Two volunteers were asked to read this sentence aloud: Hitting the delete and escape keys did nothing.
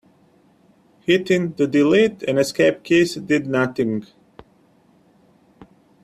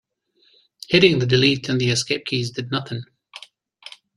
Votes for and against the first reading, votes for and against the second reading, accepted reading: 2, 1, 1, 2, first